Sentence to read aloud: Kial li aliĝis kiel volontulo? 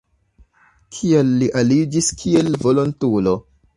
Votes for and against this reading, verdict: 0, 2, rejected